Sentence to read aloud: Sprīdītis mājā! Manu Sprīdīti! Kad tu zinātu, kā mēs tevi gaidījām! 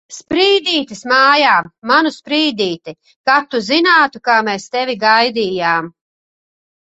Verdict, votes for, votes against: accepted, 2, 0